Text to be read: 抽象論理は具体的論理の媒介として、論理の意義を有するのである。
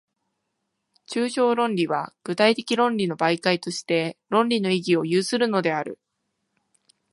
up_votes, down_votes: 2, 0